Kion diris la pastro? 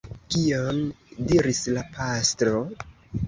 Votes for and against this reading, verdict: 2, 0, accepted